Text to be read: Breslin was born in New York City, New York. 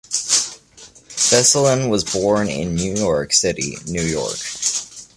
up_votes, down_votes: 2, 1